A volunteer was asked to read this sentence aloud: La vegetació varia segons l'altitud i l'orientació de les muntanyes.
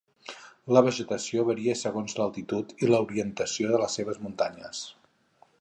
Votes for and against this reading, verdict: 2, 4, rejected